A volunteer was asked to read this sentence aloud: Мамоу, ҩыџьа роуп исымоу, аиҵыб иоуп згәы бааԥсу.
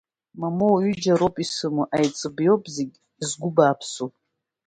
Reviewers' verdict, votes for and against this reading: rejected, 1, 2